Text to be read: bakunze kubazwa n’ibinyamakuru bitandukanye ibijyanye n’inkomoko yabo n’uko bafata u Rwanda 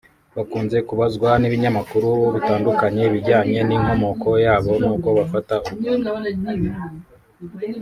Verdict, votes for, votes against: rejected, 0, 2